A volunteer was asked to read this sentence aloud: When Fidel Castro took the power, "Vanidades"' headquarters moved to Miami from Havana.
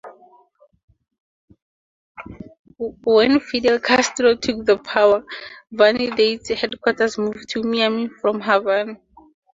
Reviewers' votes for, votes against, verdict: 2, 0, accepted